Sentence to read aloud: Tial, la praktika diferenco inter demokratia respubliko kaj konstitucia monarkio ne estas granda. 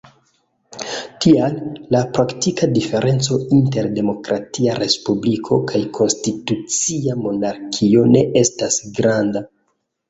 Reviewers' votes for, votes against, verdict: 1, 2, rejected